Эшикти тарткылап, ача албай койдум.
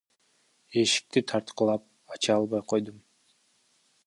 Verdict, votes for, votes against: rejected, 0, 2